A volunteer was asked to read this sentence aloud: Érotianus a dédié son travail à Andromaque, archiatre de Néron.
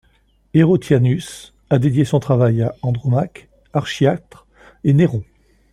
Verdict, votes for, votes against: rejected, 1, 2